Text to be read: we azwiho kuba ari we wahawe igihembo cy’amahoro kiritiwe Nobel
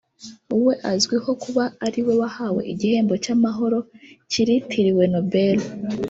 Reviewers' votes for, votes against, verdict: 1, 2, rejected